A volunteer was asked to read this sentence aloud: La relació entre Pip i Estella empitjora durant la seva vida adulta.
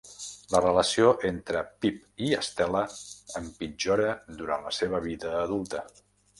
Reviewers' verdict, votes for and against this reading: rejected, 0, 2